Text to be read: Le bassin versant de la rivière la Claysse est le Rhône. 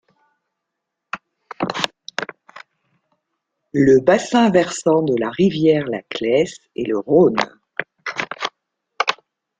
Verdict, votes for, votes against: accepted, 2, 0